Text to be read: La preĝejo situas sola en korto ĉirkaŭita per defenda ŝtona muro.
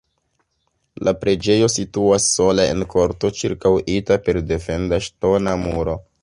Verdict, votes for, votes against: rejected, 1, 2